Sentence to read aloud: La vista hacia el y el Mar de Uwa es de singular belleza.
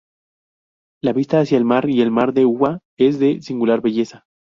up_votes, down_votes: 0, 4